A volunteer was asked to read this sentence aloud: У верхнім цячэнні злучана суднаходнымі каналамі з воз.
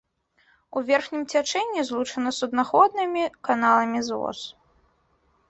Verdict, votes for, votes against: accepted, 2, 0